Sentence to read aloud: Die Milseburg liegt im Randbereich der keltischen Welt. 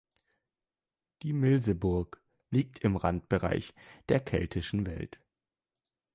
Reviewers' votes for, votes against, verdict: 2, 0, accepted